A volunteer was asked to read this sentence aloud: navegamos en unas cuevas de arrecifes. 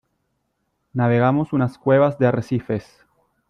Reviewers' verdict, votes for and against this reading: rejected, 1, 2